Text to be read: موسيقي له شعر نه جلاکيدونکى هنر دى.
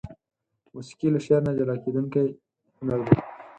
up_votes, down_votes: 8, 4